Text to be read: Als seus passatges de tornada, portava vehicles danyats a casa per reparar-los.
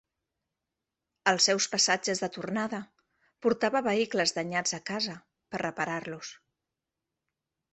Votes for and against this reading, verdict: 3, 0, accepted